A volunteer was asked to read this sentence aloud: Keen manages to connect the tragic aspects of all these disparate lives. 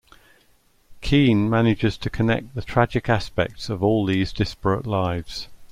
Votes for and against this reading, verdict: 2, 0, accepted